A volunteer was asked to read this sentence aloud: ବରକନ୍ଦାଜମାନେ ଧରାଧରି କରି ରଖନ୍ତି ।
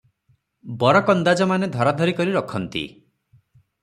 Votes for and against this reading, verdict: 3, 0, accepted